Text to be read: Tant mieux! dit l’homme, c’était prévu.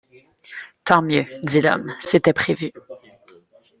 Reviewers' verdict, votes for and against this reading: accepted, 2, 0